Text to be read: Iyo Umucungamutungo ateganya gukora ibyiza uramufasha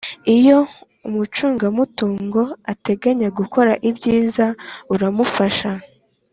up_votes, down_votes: 4, 0